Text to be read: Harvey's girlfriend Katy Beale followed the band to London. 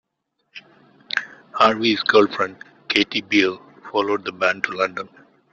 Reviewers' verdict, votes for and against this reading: accepted, 2, 0